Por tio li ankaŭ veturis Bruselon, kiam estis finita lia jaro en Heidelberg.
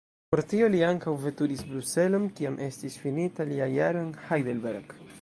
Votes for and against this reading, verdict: 0, 2, rejected